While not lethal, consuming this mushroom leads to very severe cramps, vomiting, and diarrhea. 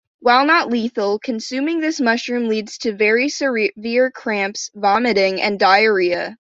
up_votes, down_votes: 1, 2